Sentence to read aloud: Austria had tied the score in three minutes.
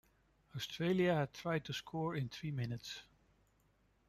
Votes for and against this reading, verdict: 0, 2, rejected